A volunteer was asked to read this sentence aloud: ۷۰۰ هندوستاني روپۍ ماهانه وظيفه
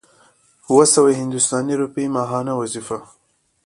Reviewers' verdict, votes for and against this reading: rejected, 0, 2